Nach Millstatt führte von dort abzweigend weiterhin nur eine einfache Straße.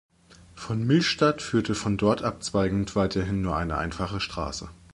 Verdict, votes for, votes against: rejected, 1, 2